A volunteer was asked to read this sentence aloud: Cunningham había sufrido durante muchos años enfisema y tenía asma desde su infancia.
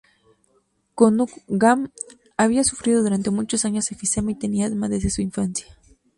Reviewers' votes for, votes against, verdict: 2, 2, rejected